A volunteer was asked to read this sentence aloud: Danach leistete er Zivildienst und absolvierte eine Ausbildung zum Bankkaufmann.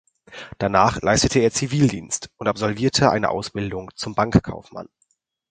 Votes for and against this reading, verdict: 4, 0, accepted